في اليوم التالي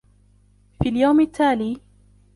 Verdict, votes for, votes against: accepted, 2, 1